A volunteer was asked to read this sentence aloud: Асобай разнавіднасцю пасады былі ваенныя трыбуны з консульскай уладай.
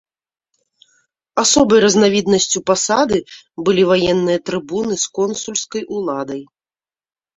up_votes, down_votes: 2, 0